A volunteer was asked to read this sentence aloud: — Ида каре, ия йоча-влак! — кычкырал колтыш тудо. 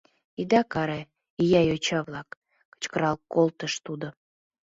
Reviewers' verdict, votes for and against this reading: accepted, 2, 0